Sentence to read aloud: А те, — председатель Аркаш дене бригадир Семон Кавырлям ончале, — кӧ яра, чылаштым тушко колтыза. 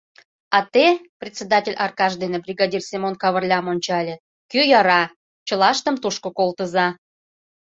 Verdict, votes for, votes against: accepted, 2, 0